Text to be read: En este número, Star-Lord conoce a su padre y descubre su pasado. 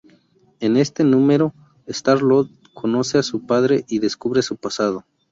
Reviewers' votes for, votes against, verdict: 2, 0, accepted